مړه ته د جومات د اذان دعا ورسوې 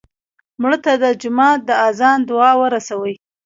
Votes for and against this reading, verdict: 2, 0, accepted